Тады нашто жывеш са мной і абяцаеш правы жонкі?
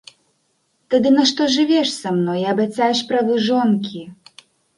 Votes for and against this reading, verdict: 2, 0, accepted